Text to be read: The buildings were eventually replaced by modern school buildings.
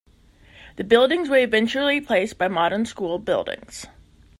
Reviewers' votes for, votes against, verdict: 1, 2, rejected